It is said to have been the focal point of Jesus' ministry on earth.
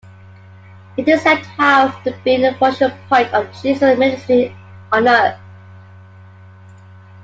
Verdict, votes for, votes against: accepted, 2, 1